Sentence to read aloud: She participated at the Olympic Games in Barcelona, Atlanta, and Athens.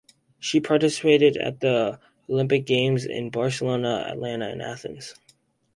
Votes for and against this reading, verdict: 2, 2, rejected